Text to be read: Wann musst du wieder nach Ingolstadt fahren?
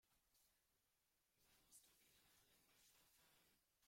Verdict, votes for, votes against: rejected, 0, 2